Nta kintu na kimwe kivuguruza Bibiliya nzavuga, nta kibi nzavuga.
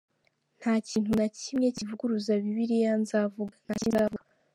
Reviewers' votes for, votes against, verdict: 1, 2, rejected